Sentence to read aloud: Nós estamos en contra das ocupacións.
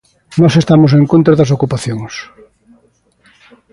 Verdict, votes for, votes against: accepted, 2, 0